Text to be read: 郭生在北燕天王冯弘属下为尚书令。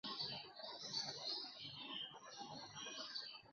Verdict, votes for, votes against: rejected, 1, 2